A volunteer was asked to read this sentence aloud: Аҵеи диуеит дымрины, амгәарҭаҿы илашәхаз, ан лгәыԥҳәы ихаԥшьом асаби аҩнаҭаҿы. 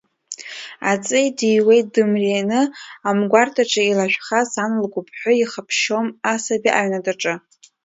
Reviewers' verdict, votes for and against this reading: rejected, 0, 2